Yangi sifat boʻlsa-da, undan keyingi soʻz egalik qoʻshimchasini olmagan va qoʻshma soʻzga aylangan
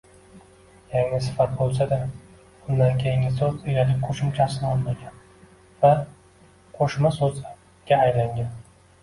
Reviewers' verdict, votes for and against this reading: rejected, 0, 2